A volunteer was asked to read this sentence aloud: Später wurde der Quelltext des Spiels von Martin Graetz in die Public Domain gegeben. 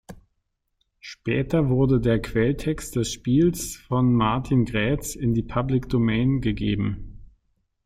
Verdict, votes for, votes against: accepted, 2, 0